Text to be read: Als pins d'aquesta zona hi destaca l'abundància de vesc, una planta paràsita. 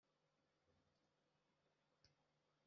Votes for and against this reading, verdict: 0, 2, rejected